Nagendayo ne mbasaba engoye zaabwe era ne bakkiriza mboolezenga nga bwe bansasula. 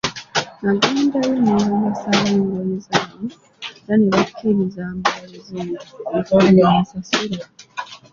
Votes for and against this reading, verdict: 1, 2, rejected